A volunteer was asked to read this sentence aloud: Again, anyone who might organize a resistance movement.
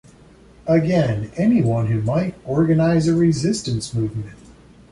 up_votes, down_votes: 2, 0